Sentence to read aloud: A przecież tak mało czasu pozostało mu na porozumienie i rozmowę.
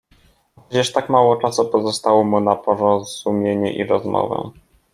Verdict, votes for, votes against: rejected, 1, 2